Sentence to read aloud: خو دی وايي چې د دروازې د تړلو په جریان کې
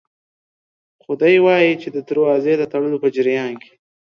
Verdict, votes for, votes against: accepted, 2, 0